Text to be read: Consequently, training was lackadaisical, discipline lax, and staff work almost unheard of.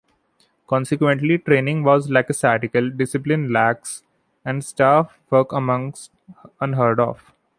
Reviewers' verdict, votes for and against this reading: rejected, 0, 2